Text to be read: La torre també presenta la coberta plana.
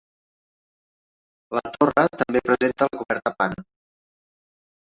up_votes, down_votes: 0, 2